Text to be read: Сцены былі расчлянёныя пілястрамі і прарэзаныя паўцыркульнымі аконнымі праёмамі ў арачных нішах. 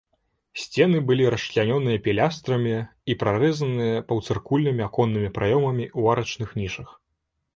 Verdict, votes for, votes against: rejected, 0, 2